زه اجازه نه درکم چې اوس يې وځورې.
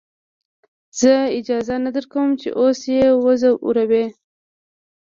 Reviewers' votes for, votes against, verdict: 2, 0, accepted